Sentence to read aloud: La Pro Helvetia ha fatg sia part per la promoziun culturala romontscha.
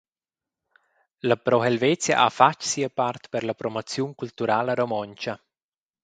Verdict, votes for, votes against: accepted, 4, 0